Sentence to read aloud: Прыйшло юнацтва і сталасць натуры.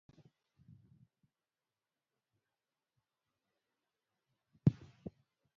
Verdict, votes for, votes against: rejected, 0, 2